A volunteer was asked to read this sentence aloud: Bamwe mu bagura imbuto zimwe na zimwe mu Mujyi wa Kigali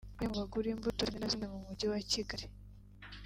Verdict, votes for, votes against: rejected, 1, 2